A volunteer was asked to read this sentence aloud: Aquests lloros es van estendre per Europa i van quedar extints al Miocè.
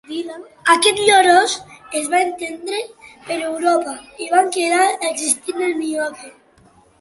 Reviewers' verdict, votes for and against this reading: rejected, 0, 2